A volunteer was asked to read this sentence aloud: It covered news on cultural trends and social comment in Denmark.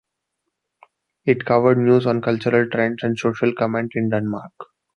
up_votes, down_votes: 2, 0